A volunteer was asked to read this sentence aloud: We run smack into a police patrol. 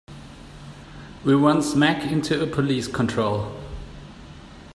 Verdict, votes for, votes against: rejected, 0, 4